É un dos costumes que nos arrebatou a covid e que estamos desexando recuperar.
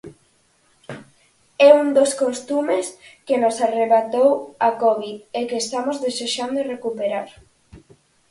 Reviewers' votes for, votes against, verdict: 4, 0, accepted